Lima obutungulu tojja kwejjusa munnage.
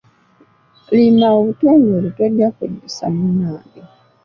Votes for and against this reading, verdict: 2, 0, accepted